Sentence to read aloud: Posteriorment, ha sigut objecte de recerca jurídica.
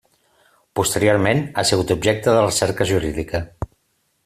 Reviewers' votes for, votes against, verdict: 2, 0, accepted